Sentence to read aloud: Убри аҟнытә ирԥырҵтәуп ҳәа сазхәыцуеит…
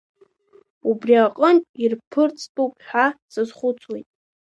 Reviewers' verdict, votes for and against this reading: rejected, 0, 2